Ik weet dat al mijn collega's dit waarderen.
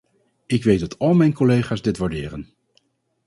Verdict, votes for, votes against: accepted, 4, 0